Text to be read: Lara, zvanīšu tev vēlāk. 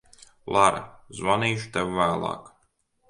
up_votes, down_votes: 2, 0